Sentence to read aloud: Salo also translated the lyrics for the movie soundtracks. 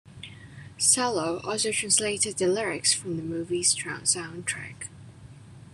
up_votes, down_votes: 1, 2